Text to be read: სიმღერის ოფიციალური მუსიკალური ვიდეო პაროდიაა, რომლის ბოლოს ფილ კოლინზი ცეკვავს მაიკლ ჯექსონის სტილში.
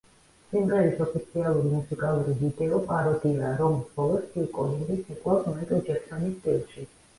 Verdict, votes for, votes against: rejected, 1, 2